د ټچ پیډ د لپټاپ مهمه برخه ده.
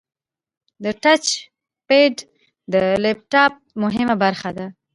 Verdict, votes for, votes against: accepted, 2, 0